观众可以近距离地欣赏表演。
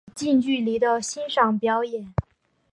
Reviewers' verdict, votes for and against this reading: rejected, 1, 2